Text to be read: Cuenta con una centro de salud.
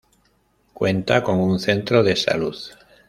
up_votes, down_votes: 2, 0